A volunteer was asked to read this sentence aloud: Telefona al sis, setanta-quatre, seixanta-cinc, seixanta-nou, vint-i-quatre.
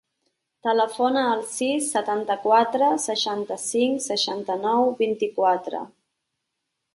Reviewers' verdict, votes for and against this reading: accepted, 3, 0